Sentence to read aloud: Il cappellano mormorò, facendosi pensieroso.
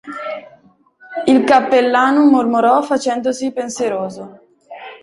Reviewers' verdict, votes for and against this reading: accepted, 2, 0